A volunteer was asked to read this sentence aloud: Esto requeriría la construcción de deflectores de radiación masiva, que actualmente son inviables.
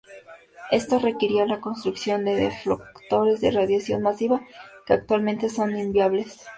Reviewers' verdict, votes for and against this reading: accepted, 2, 0